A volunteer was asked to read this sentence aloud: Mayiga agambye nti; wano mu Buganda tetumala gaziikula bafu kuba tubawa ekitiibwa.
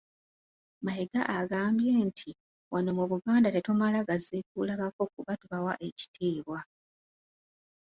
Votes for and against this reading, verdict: 1, 2, rejected